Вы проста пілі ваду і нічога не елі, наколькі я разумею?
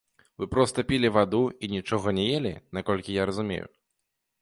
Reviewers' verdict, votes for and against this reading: rejected, 1, 2